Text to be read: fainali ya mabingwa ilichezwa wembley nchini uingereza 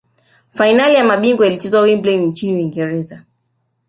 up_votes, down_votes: 1, 2